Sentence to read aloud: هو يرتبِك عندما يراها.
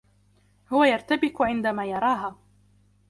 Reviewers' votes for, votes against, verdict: 2, 0, accepted